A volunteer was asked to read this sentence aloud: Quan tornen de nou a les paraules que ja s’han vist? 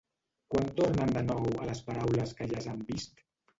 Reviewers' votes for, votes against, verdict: 3, 1, accepted